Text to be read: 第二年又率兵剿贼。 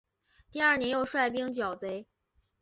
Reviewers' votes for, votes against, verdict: 3, 0, accepted